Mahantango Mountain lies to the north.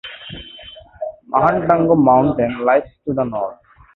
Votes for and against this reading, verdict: 2, 0, accepted